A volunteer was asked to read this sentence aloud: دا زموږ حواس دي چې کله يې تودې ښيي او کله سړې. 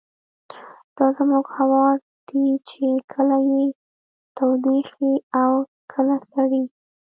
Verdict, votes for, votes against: rejected, 0, 2